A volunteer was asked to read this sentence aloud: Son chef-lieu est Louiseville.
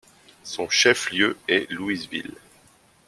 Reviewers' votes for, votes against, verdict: 2, 0, accepted